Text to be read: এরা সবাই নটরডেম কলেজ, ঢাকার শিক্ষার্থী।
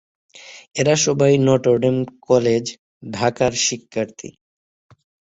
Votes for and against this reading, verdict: 6, 3, accepted